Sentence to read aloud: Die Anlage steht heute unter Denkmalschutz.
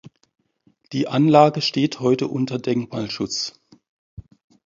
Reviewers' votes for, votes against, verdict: 2, 1, accepted